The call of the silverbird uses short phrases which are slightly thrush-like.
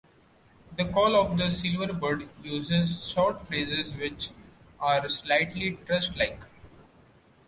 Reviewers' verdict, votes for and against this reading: accepted, 2, 0